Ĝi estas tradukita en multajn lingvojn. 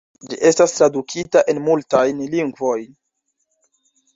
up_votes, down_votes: 1, 2